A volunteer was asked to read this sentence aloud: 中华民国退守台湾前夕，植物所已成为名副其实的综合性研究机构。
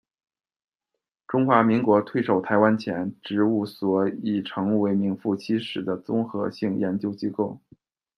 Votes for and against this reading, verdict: 0, 2, rejected